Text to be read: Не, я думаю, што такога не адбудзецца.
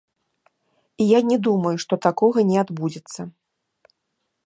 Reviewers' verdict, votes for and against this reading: rejected, 0, 2